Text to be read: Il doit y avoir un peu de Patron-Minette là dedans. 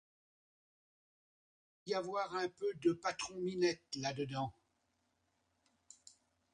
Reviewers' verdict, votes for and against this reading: accepted, 2, 0